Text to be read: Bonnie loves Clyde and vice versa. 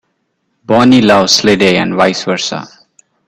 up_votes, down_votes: 0, 2